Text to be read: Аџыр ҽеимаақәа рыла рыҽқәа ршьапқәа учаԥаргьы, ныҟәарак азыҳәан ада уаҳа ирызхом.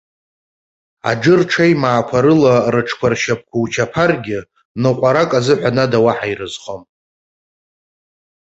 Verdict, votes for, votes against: accepted, 2, 0